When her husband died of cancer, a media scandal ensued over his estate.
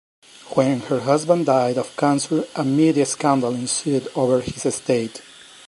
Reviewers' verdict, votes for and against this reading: accepted, 2, 0